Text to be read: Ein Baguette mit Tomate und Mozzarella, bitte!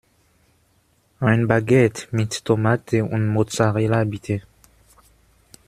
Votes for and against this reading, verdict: 2, 0, accepted